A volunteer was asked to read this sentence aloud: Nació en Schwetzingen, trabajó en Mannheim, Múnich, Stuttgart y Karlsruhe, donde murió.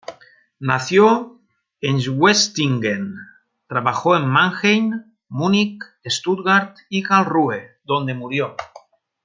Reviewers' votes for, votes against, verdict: 1, 2, rejected